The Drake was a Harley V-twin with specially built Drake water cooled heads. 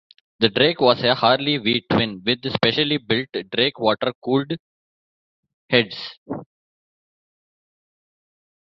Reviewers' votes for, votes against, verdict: 2, 0, accepted